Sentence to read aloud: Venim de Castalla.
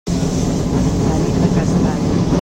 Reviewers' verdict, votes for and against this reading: rejected, 1, 2